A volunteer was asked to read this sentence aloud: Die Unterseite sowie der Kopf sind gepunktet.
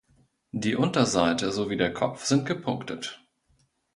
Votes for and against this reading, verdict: 2, 0, accepted